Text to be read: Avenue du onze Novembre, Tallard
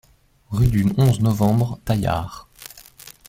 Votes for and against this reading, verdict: 0, 2, rejected